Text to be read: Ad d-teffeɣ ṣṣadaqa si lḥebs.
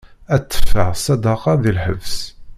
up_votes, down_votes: 0, 2